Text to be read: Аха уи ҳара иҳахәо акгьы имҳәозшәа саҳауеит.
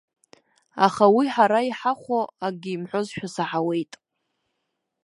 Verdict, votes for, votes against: rejected, 1, 2